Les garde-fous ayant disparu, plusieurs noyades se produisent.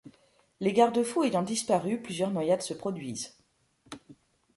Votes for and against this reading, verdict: 2, 0, accepted